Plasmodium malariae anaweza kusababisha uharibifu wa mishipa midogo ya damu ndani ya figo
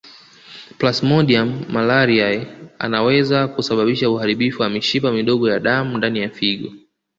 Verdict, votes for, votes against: accepted, 2, 1